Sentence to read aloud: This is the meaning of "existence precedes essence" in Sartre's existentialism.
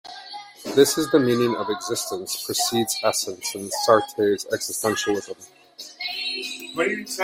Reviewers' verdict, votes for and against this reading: rejected, 1, 2